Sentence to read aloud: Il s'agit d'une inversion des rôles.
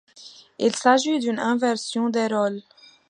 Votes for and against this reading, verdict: 2, 0, accepted